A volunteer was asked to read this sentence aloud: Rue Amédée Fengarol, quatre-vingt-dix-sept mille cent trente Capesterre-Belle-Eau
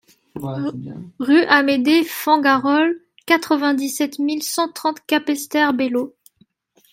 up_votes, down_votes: 2, 1